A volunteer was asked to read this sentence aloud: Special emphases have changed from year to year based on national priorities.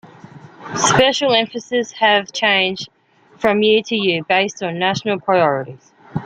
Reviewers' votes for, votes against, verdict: 2, 1, accepted